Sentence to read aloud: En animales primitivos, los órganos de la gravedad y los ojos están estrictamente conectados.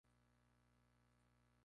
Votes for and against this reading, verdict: 0, 2, rejected